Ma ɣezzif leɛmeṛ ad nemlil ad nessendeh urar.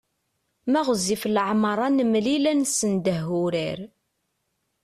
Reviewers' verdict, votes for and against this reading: accepted, 2, 0